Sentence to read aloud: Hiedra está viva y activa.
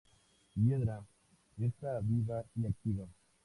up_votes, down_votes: 2, 0